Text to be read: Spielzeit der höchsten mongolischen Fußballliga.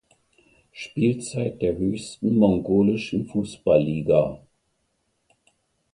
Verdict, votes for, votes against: accepted, 2, 0